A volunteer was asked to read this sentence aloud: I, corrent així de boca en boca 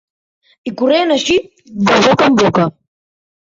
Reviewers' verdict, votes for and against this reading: rejected, 2, 3